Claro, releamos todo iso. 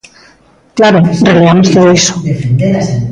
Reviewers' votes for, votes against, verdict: 0, 2, rejected